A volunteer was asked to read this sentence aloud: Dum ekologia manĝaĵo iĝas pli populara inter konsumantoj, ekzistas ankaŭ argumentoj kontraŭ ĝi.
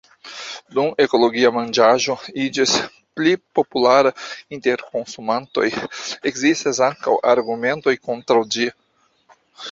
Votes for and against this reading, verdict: 1, 2, rejected